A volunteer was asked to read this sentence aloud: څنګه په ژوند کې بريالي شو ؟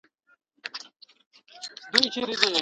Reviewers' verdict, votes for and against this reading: rejected, 1, 2